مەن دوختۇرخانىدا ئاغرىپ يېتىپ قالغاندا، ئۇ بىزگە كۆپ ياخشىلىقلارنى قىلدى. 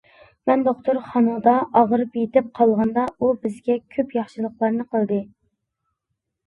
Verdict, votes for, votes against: accepted, 2, 0